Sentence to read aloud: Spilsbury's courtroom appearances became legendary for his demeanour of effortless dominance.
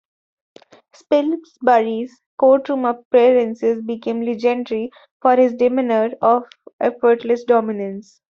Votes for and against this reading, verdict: 1, 2, rejected